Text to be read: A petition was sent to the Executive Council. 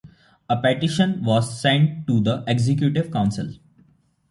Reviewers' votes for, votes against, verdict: 2, 0, accepted